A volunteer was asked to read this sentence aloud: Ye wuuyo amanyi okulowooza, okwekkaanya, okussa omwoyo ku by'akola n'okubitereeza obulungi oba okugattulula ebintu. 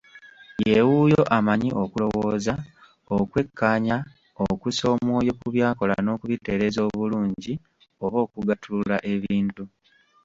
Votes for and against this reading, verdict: 2, 1, accepted